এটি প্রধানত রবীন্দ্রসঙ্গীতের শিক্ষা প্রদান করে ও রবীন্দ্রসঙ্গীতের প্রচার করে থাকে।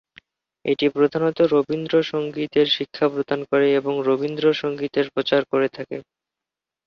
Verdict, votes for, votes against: rejected, 1, 2